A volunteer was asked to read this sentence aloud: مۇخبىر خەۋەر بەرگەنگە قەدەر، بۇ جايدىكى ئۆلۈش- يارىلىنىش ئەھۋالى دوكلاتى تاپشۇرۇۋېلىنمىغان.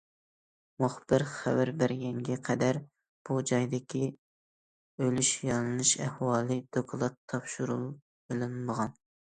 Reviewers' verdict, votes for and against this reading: rejected, 0, 2